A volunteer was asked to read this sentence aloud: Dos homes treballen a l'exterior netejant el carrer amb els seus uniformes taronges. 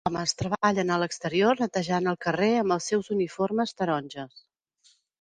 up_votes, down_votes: 0, 2